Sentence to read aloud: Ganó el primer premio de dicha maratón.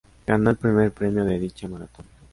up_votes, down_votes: 2, 0